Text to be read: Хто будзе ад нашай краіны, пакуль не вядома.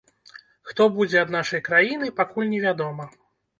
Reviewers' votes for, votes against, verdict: 2, 0, accepted